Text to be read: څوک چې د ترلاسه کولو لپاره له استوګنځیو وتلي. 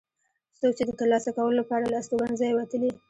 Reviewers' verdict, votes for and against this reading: accepted, 2, 0